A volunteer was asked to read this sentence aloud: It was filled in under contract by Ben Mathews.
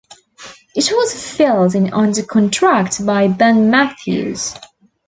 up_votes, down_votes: 2, 0